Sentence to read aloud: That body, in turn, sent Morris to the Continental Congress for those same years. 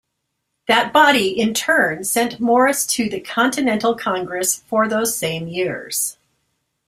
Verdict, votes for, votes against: accepted, 2, 0